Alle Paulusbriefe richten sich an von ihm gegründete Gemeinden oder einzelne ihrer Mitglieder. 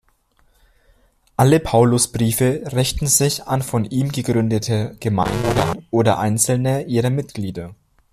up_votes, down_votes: 0, 2